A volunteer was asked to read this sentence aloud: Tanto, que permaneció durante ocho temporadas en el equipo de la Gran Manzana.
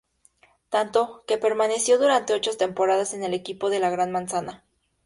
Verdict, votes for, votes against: accepted, 2, 0